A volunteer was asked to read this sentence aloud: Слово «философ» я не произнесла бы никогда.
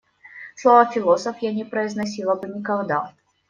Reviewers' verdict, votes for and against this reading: rejected, 1, 2